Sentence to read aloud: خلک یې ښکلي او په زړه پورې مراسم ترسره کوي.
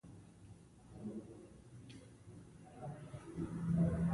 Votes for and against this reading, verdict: 0, 2, rejected